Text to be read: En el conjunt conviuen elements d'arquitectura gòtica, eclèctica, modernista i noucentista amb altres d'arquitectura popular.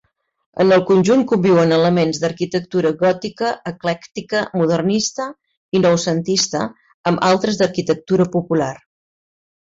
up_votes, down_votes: 3, 0